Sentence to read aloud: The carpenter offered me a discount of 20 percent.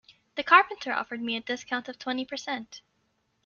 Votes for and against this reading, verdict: 0, 2, rejected